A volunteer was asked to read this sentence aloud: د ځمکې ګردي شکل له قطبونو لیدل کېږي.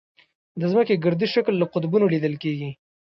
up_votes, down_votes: 1, 2